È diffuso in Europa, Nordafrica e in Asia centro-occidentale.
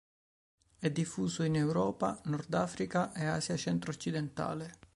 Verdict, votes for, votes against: rejected, 1, 2